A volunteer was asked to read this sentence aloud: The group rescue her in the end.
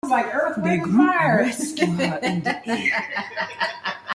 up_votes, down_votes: 0, 2